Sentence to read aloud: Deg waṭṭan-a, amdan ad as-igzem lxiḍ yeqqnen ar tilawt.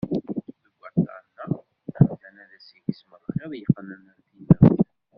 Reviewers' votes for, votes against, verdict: 0, 2, rejected